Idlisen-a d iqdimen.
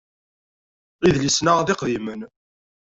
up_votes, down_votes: 1, 2